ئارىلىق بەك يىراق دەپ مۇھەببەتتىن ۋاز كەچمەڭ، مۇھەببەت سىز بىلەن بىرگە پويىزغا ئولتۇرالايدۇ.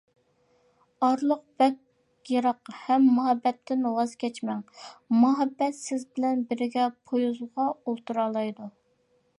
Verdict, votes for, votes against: rejected, 0, 2